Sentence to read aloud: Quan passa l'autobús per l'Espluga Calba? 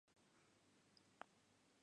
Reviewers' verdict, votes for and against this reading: rejected, 0, 2